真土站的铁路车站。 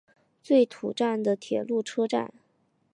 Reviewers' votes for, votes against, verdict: 2, 1, accepted